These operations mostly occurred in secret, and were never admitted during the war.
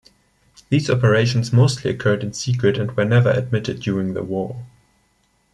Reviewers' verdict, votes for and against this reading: rejected, 1, 2